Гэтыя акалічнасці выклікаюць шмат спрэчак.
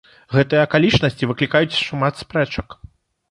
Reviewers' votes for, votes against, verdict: 1, 2, rejected